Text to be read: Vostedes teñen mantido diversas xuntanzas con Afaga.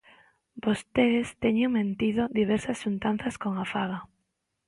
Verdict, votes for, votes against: rejected, 0, 2